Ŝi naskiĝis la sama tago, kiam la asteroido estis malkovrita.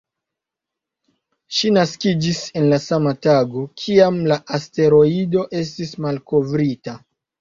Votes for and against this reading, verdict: 2, 0, accepted